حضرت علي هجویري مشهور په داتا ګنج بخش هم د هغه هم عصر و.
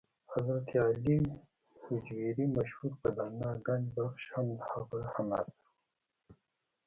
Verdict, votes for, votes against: rejected, 1, 2